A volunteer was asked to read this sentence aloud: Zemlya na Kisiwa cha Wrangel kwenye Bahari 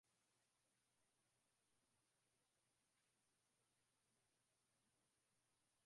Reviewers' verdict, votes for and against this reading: rejected, 0, 2